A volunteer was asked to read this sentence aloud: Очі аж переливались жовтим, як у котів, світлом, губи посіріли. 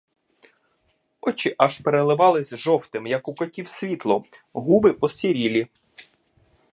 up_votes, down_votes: 1, 2